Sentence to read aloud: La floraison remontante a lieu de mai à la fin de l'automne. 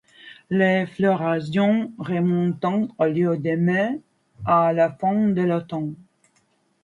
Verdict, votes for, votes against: accepted, 2, 0